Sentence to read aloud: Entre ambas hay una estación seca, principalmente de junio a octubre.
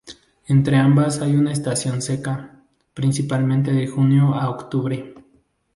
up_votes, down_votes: 0, 2